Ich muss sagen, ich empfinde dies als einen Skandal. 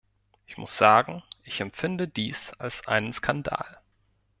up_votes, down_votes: 2, 0